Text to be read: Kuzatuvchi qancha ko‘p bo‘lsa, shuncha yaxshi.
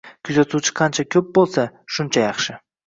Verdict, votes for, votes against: accepted, 2, 0